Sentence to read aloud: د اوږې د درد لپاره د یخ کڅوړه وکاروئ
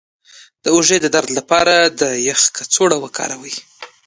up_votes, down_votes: 3, 0